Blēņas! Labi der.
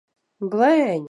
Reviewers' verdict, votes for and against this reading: rejected, 0, 2